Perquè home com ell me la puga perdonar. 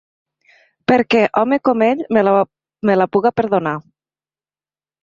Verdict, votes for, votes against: rejected, 0, 2